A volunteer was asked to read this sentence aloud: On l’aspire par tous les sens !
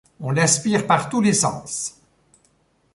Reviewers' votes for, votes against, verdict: 2, 0, accepted